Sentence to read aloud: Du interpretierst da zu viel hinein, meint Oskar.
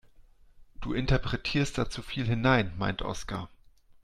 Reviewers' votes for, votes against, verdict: 2, 0, accepted